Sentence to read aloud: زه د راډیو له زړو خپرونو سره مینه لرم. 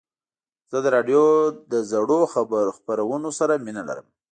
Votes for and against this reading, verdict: 2, 0, accepted